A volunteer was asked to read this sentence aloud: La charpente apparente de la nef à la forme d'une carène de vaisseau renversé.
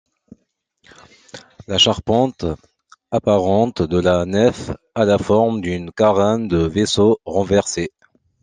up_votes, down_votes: 2, 0